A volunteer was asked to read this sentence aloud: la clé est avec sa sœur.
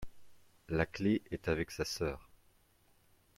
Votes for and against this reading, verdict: 2, 0, accepted